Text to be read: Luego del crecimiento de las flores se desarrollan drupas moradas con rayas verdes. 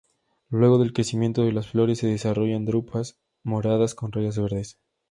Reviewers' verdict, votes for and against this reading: accepted, 2, 0